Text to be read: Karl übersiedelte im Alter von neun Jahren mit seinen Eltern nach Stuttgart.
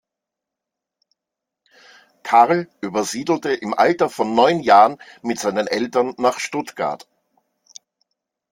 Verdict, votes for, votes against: accepted, 2, 0